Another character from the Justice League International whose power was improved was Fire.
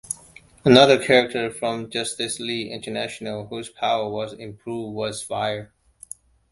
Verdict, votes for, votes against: rejected, 0, 2